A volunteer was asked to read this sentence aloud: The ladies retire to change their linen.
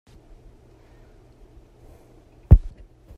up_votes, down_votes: 0, 2